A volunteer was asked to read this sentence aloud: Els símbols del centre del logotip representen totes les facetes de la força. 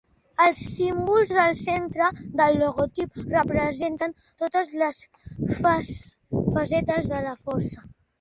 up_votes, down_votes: 0, 2